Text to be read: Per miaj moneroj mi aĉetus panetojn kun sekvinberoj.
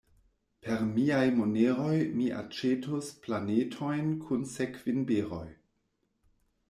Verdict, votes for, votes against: rejected, 1, 2